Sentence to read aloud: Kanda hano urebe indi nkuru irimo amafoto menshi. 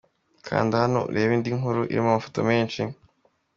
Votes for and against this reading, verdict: 2, 0, accepted